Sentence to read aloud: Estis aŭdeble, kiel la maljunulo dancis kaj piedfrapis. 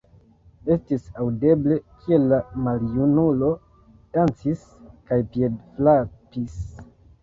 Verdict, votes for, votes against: rejected, 1, 2